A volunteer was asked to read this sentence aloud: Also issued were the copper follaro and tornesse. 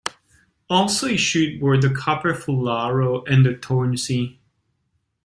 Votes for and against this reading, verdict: 0, 2, rejected